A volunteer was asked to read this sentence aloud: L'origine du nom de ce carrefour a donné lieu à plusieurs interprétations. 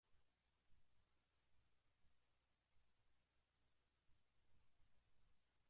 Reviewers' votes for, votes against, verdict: 0, 2, rejected